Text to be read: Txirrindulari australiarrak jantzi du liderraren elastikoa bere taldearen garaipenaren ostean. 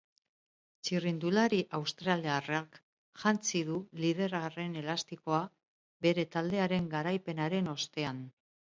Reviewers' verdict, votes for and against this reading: accepted, 2, 0